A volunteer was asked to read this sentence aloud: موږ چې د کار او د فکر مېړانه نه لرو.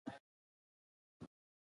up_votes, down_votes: 1, 2